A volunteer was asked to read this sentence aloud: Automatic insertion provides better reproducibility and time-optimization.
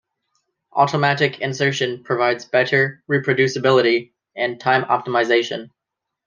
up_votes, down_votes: 2, 0